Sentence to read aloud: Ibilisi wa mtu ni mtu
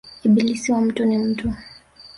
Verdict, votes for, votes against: rejected, 1, 2